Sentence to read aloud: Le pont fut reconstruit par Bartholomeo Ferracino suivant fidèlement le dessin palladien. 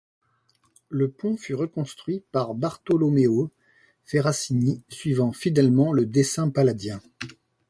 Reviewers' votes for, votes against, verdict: 0, 2, rejected